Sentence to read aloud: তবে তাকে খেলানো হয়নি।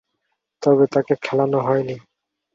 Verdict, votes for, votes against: accepted, 8, 0